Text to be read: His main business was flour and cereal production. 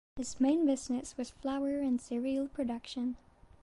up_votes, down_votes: 1, 2